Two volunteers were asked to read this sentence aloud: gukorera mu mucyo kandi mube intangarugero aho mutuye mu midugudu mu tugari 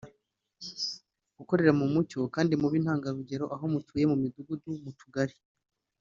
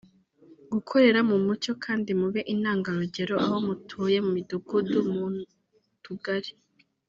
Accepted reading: first